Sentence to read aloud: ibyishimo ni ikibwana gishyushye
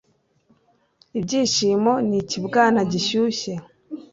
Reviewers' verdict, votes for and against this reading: accepted, 2, 0